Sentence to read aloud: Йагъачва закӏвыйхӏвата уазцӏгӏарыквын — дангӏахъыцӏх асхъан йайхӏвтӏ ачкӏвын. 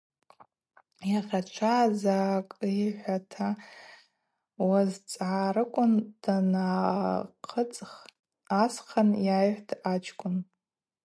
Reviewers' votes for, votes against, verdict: 2, 0, accepted